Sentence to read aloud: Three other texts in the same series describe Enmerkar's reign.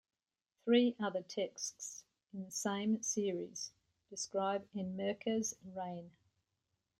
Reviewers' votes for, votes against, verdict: 1, 2, rejected